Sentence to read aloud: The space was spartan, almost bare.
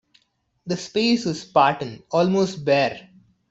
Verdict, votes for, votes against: rejected, 1, 2